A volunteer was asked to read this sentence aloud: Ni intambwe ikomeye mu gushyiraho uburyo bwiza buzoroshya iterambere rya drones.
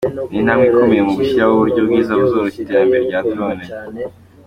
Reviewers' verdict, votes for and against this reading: accepted, 3, 0